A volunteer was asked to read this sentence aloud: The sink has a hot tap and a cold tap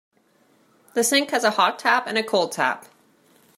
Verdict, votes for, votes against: accepted, 2, 0